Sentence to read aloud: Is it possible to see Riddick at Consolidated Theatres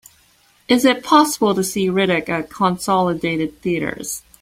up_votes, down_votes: 2, 0